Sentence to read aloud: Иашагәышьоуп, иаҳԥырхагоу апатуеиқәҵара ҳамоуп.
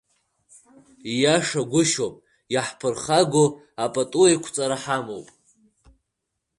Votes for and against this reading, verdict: 2, 1, accepted